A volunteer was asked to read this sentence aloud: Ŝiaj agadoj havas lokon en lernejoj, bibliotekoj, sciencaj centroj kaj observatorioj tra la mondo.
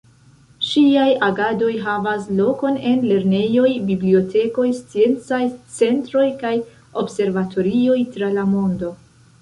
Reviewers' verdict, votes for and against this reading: rejected, 0, 2